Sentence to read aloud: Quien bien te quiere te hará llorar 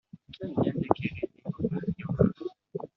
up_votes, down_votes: 1, 2